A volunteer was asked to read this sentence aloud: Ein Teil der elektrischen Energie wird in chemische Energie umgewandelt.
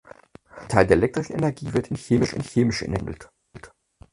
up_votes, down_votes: 0, 4